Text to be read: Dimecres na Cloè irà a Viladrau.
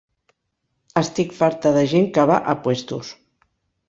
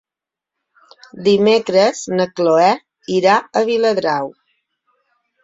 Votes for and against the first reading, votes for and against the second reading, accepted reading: 0, 3, 12, 0, second